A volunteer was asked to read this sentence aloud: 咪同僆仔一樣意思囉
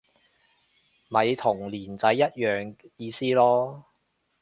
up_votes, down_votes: 0, 2